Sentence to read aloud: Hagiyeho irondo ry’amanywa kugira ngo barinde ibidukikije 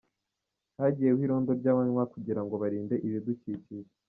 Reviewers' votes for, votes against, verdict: 0, 2, rejected